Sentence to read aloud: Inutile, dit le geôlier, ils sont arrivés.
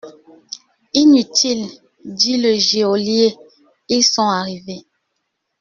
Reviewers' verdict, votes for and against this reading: rejected, 0, 2